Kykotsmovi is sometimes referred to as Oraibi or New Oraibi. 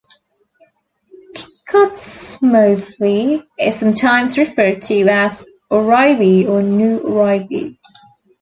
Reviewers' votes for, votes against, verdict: 0, 2, rejected